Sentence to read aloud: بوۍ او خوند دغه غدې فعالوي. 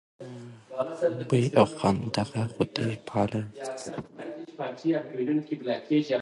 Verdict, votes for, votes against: accepted, 3, 1